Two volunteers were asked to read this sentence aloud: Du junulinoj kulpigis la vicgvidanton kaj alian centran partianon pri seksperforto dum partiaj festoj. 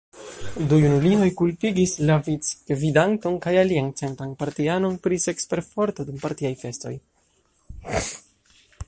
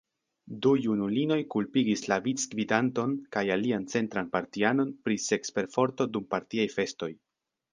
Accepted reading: second